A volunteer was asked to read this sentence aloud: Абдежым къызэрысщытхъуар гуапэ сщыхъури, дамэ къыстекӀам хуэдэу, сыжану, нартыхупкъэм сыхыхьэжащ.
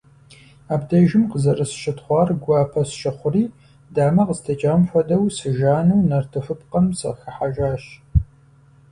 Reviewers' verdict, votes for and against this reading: accepted, 4, 0